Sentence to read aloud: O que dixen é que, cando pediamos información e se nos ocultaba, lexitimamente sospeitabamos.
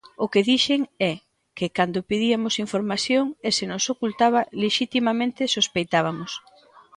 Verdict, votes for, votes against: rejected, 0, 2